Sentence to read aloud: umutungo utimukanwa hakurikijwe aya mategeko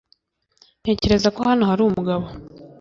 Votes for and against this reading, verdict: 1, 2, rejected